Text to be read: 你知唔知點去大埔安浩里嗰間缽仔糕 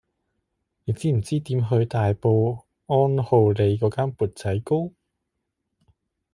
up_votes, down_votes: 0, 2